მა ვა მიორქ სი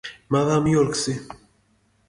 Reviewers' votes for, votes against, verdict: 0, 2, rejected